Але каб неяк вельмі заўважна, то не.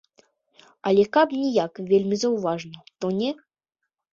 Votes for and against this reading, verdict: 0, 2, rejected